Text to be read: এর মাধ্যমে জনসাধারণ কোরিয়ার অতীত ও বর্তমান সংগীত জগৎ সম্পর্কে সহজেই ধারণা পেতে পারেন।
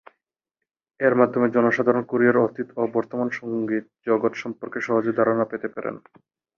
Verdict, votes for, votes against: accepted, 2, 0